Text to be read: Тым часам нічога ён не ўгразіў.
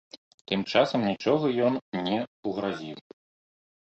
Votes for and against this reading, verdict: 2, 0, accepted